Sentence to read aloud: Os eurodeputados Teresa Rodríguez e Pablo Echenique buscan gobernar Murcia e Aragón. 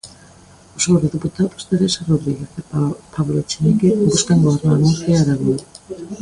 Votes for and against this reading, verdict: 0, 2, rejected